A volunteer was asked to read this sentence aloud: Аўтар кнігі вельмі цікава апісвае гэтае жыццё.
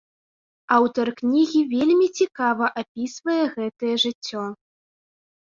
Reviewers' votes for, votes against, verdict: 2, 0, accepted